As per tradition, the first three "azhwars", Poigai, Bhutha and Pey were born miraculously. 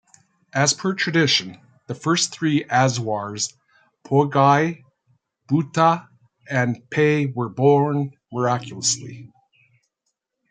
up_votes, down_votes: 2, 0